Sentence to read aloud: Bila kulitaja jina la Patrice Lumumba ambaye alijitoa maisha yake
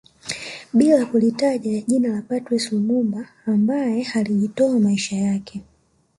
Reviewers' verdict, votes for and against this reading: rejected, 0, 2